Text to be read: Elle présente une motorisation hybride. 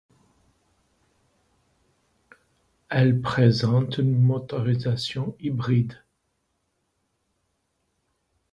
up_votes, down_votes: 3, 0